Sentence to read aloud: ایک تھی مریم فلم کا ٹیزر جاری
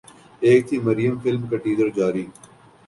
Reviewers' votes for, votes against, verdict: 3, 0, accepted